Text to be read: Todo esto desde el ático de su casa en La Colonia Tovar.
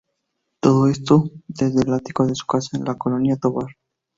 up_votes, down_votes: 2, 0